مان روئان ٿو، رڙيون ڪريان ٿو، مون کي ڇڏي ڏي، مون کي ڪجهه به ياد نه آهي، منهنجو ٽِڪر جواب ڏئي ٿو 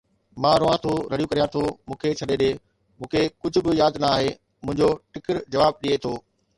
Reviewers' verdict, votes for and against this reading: accepted, 2, 0